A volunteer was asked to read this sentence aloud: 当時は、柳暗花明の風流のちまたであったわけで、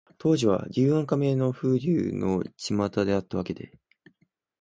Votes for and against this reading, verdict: 2, 0, accepted